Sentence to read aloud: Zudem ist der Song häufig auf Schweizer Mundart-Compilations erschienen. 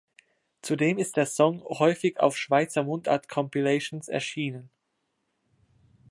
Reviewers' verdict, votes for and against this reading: accepted, 2, 0